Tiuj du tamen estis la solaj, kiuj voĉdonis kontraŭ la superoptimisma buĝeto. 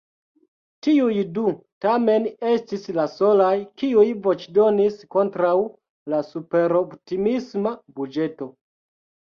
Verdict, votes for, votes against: accepted, 2, 1